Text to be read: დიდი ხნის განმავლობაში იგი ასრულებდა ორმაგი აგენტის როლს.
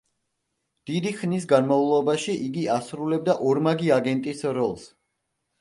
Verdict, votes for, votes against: accepted, 2, 0